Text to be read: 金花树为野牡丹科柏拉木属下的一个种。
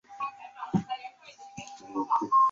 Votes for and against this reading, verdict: 1, 2, rejected